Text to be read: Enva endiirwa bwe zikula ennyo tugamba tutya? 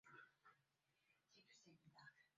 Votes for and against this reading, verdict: 0, 2, rejected